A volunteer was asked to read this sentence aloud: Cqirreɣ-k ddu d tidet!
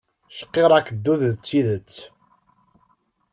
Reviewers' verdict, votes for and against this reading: accepted, 2, 0